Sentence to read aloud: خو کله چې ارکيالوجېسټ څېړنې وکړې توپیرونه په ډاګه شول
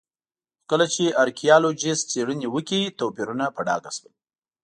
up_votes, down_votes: 2, 0